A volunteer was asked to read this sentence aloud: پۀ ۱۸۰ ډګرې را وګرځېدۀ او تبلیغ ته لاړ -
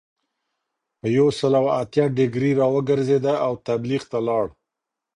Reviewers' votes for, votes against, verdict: 0, 2, rejected